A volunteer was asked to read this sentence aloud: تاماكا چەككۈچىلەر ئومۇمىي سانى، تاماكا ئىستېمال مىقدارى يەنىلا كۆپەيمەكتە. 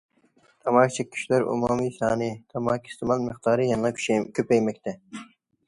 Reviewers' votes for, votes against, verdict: 0, 2, rejected